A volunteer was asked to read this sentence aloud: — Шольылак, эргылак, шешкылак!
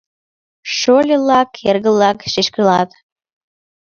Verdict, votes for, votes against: accepted, 2, 0